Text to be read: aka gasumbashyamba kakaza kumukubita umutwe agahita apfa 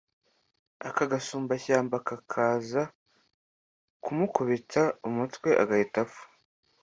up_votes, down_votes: 2, 0